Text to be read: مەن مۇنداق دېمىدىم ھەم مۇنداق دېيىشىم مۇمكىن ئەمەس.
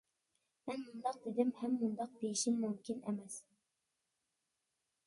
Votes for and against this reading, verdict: 0, 2, rejected